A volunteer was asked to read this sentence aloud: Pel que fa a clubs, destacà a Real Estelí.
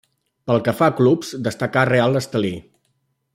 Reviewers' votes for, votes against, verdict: 2, 0, accepted